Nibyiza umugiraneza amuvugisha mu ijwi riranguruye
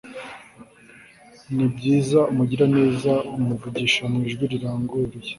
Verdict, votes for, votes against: accepted, 2, 0